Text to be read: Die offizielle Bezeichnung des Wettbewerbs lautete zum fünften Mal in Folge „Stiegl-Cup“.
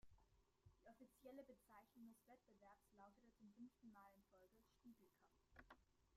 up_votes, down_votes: 0, 2